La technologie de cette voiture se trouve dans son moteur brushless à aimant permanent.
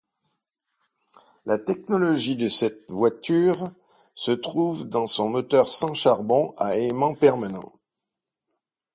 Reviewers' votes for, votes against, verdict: 0, 4, rejected